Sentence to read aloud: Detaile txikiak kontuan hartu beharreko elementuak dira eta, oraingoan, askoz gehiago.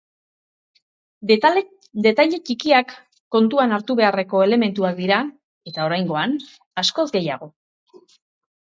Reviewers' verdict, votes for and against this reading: rejected, 0, 2